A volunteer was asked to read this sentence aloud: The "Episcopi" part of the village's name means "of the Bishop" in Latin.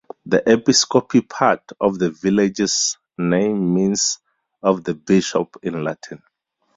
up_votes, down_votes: 0, 2